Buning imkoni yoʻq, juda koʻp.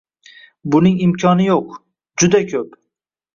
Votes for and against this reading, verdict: 2, 0, accepted